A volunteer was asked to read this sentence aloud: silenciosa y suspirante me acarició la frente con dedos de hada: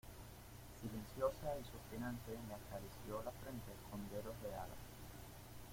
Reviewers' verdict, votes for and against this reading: rejected, 0, 2